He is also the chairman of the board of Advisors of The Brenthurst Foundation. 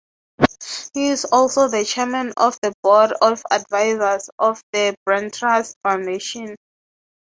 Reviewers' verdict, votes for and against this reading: rejected, 0, 3